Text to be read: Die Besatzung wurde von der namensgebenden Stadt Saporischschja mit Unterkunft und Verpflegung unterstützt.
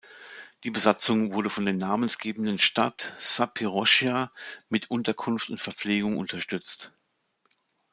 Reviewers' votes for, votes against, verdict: 0, 2, rejected